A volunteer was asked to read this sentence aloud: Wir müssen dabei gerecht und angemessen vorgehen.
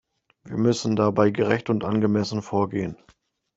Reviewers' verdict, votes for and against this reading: accepted, 3, 0